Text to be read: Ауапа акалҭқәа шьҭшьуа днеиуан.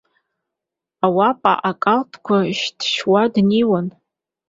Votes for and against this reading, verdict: 2, 0, accepted